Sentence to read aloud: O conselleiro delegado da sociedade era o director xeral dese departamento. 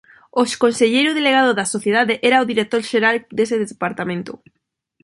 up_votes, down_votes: 0, 2